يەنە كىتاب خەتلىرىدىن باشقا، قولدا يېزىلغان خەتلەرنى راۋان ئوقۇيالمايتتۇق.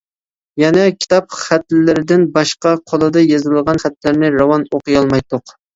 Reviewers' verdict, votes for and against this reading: rejected, 0, 2